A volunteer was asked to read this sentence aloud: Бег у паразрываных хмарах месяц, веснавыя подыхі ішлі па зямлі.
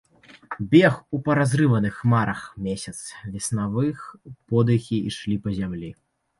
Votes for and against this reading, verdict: 1, 3, rejected